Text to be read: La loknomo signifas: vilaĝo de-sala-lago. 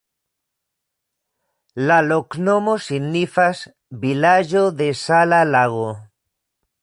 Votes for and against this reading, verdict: 2, 0, accepted